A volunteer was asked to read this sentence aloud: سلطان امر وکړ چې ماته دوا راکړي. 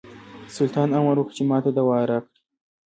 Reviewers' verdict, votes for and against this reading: accepted, 2, 0